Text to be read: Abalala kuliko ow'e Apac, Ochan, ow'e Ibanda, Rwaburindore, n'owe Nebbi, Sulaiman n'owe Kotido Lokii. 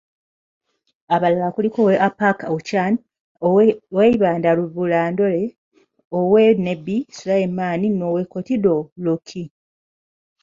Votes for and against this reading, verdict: 1, 2, rejected